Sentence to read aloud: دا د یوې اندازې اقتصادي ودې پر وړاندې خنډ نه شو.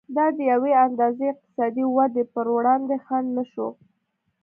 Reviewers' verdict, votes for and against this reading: accepted, 2, 0